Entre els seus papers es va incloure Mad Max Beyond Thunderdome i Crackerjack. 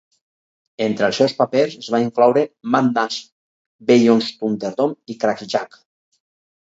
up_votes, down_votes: 2, 4